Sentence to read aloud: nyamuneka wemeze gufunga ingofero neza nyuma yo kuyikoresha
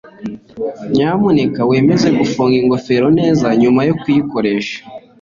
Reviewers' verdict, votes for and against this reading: accepted, 2, 0